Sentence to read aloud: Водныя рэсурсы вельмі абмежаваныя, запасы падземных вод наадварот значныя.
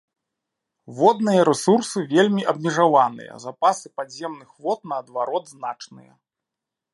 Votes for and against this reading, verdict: 1, 2, rejected